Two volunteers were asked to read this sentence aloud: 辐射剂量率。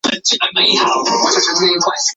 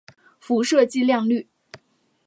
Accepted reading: second